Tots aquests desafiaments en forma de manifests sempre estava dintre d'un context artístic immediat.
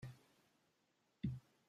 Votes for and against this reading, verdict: 0, 2, rejected